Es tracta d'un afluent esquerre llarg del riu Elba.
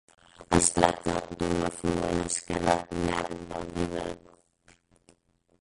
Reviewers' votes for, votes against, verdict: 0, 4, rejected